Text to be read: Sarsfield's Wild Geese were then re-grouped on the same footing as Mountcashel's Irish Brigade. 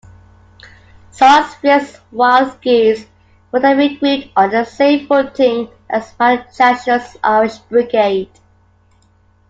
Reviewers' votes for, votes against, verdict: 2, 1, accepted